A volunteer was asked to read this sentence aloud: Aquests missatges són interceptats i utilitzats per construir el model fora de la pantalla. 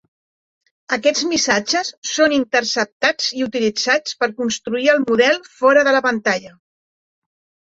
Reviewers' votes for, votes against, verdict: 4, 0, accepted